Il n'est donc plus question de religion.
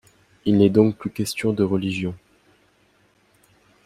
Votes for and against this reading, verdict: 2, 0, accepted